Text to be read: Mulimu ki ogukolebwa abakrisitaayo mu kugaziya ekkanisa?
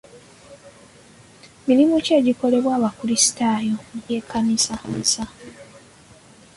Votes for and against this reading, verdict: 0, 2, rejected